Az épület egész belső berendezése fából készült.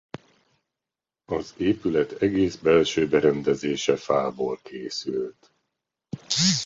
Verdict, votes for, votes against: accepted, 2, 0